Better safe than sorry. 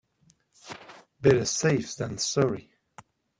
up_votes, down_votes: 2, 0